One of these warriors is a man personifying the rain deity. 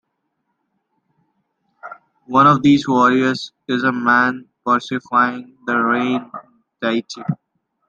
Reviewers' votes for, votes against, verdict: 0, 2, rejected